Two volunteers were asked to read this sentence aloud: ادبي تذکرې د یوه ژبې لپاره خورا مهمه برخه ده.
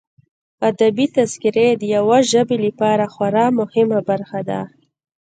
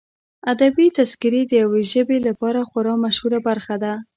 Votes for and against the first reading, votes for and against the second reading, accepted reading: 2, 0, 1, 2, first